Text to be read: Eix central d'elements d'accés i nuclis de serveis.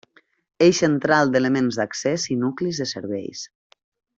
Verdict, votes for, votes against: rejected, 0, 3